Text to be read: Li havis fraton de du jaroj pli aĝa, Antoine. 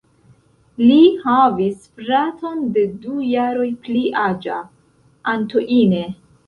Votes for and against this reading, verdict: 1, 2, rejected